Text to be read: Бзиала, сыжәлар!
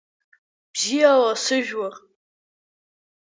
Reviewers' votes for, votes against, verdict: 1, 2, rejected